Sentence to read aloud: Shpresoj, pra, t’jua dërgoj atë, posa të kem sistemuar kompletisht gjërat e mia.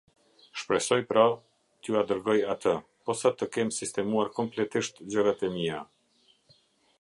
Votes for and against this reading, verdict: 2, 0, accepted